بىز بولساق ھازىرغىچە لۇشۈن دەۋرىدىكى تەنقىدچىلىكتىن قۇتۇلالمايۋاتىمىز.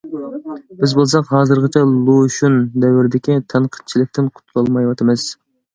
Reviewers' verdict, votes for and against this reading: accepted, 2, 0